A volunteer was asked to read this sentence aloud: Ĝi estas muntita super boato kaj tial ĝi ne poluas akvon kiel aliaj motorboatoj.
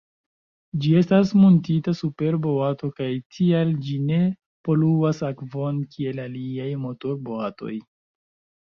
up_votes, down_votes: 0, 2